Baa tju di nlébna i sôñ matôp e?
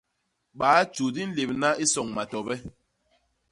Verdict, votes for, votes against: rejected, 0, 2